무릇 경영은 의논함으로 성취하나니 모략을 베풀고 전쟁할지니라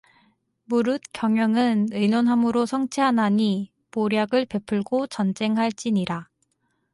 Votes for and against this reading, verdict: 4, 0, accepted